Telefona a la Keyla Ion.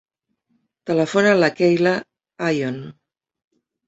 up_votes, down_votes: 2, 0